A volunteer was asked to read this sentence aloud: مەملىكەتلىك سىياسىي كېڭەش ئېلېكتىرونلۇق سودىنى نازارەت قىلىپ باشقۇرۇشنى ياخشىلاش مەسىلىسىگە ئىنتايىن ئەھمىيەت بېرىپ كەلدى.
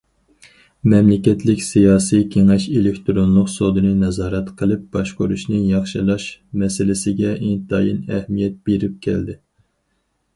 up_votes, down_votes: 4, 0